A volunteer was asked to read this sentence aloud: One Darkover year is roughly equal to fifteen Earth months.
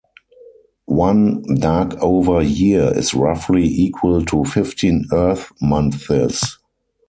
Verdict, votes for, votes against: rejected, 0, 4